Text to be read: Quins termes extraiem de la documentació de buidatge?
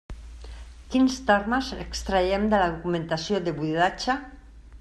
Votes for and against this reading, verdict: 2, 0, accepted